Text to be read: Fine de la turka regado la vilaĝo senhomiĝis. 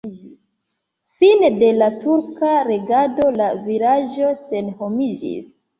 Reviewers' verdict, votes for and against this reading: rejected, 1, 2